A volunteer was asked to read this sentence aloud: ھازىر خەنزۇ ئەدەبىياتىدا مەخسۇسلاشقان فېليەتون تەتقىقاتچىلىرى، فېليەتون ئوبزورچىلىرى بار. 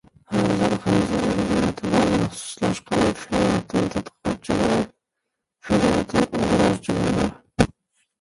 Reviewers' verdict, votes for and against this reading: rejected, 0, 2